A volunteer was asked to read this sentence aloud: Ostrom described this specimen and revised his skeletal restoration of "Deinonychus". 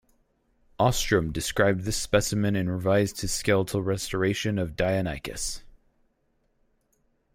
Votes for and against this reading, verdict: 4, 2, accepted